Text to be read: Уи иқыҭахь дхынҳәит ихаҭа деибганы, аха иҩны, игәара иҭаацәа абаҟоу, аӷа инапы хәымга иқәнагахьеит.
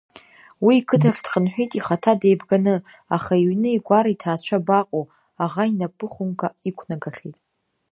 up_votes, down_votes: 2, 0